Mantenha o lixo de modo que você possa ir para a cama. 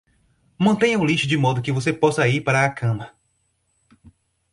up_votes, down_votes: 4, 0